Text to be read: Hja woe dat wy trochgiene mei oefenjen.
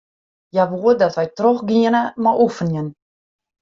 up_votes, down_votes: 2, 0